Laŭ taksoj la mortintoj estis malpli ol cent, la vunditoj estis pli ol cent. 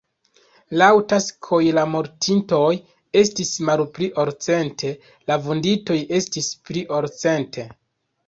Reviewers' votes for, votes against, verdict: 0, 2, rejected